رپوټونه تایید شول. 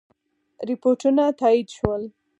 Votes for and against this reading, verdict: 6, 0, accepted